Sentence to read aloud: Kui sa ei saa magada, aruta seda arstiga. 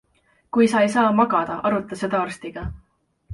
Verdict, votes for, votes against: accepted, 2, 0